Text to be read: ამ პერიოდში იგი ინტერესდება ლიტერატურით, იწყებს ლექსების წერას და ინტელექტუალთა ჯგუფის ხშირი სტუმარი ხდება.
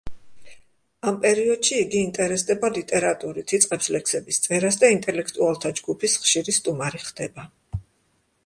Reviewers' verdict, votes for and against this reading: accepted, 2, 0